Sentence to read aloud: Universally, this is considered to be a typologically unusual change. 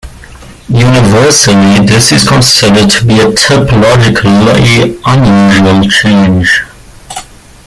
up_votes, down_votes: 0, 2